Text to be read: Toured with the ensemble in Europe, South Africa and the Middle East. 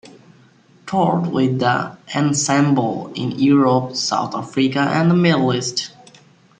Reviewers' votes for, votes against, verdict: 0, 2, rejected